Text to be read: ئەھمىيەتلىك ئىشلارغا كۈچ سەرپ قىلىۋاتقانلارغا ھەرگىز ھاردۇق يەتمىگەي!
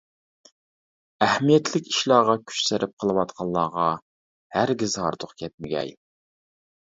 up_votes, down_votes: 0, 2